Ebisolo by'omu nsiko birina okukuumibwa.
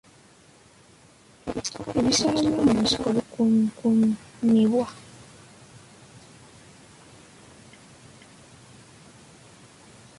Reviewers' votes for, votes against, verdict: 0, 2, rejected